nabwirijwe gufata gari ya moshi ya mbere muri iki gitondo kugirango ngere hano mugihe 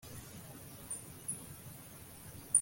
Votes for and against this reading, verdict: 0, 2, rejected